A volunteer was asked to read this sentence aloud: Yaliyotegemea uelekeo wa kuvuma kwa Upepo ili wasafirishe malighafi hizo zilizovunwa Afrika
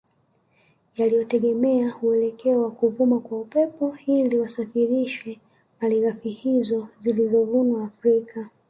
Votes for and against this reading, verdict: 1, 2, rejected